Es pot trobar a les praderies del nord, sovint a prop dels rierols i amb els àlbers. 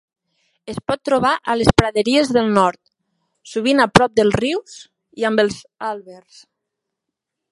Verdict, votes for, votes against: rejected, 0, 2